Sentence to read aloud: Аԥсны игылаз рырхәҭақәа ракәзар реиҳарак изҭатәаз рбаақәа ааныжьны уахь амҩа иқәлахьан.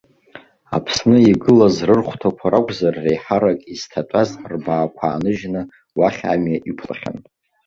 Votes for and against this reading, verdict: 2, 0, accepted